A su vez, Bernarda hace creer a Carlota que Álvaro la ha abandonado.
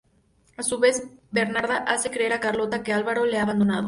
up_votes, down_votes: 0, 2